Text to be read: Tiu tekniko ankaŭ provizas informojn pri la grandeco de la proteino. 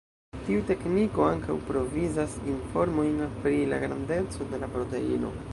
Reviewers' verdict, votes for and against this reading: rejected, 1, 2